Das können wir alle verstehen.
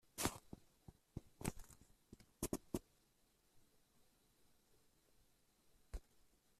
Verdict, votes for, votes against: rejected, 0, 2